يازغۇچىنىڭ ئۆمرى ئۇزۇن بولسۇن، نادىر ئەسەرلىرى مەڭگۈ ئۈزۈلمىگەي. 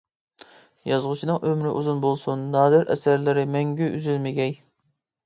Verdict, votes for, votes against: accepted, 2, 0